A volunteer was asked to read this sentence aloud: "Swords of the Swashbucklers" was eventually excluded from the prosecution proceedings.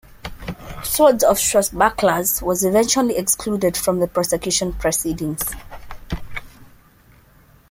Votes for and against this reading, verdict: 0, 2, rejected